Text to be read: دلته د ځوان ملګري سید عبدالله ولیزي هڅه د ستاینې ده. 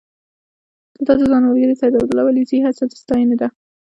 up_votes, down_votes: 0, 2